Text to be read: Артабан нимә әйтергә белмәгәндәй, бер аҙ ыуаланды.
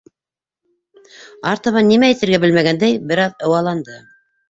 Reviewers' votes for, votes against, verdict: 2, 0, accepted